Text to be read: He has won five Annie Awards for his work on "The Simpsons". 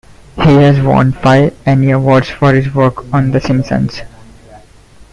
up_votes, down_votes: 2, 1